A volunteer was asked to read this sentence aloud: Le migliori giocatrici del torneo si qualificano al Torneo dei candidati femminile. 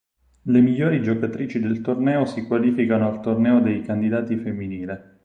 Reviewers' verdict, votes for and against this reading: accepted, 6, 0